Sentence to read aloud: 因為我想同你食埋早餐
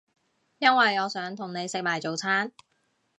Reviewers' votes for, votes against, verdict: 2, 0, accepted